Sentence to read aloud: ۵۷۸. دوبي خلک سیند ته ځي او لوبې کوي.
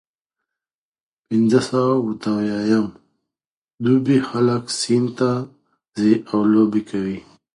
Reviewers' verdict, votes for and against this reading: rejected, 0, 2